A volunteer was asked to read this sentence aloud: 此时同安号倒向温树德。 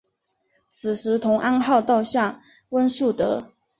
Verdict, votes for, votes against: accepted, 3, 0